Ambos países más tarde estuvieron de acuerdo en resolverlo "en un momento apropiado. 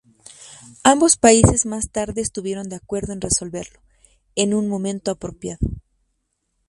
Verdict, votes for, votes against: accepted, 2, 0